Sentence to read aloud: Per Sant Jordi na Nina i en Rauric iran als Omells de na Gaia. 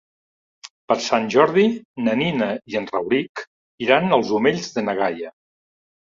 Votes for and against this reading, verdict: 3, 0, accepted